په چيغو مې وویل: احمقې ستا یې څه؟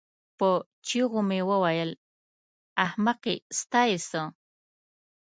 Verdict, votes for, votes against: accepted, 2, 0